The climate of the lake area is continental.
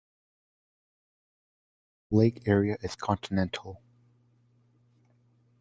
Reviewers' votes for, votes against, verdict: 1, 2, rejected